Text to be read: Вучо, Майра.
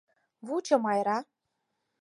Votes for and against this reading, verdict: 4, 0, accepted